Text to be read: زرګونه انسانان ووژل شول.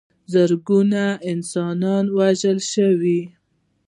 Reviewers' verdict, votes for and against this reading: rejected, 0, 2